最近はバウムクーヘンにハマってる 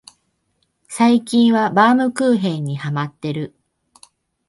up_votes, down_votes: 2, 0